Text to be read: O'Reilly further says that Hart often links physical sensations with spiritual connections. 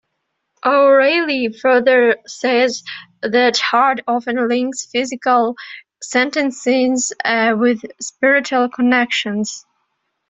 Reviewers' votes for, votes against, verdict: 0, 2, rejected